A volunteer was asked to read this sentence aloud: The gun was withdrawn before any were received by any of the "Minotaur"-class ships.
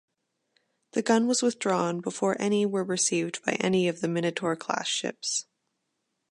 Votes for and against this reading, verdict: 2, 0, accepted